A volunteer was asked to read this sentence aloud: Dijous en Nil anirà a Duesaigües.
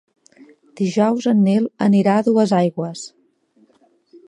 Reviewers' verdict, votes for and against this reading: accepted, 2, 0